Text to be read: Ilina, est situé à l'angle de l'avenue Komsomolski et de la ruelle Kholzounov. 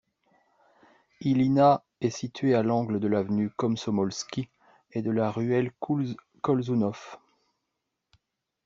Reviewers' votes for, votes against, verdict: 0, 2, rejected